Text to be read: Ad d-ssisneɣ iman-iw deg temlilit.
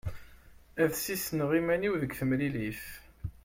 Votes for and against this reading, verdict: 2, 0, accepted